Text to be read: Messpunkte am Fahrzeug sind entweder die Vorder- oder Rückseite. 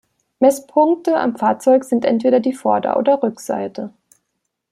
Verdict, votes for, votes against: accepted, 2, 0